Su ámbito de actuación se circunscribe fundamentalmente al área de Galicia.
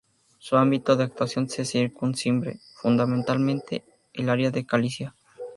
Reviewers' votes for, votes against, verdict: 0, 2, rejected